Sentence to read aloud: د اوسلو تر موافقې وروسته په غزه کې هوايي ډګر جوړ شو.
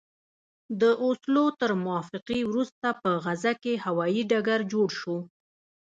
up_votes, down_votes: 2, 0